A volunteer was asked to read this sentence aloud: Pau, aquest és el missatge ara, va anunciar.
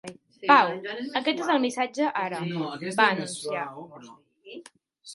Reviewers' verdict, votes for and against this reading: rejected, 0, 4